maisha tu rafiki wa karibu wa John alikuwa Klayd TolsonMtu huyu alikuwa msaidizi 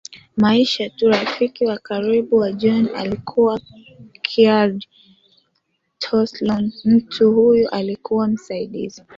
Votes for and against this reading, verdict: 0, 2, rejected